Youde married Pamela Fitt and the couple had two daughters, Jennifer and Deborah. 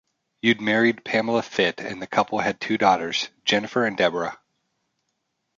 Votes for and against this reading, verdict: 2, 0, accepted